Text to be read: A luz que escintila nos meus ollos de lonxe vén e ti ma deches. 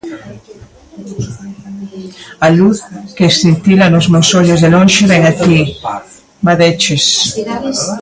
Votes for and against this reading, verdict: 1, 2, rejected